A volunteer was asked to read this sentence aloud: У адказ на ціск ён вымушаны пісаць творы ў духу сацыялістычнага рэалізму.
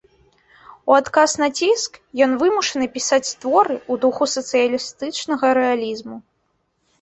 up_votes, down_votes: 2, 0